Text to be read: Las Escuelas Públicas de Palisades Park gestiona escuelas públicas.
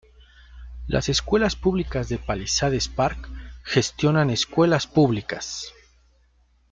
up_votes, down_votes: 0, 2